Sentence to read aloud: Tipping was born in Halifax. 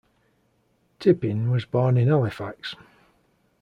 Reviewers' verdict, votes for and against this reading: rejected, 1, 2